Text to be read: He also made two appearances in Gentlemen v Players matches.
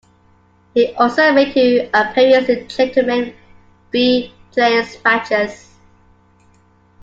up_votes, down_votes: 1, 2